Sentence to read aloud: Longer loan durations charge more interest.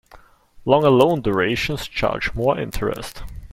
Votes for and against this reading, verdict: 2, 0, accepted